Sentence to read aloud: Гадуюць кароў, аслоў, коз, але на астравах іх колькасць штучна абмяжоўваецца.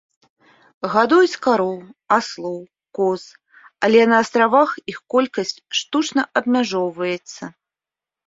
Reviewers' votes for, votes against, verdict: 2, 0, accepted